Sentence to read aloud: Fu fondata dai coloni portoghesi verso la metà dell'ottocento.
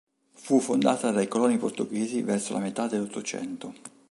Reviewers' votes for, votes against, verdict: 2, 0, accepted